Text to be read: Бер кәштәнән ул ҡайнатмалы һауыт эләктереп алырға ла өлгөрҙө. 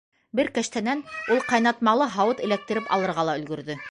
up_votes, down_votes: 0, 2